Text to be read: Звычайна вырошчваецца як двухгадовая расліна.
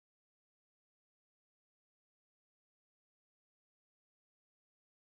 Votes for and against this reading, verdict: 0, 3, rejected